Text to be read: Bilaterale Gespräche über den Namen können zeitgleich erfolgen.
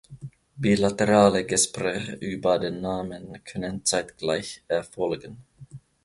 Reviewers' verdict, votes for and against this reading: rejected, 1, 2